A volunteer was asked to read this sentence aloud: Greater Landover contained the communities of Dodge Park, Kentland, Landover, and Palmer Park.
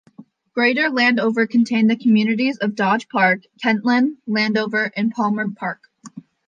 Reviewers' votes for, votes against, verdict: 2, 0, accepted